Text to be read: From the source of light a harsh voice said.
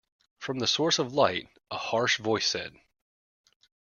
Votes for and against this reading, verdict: 2, 1, accepted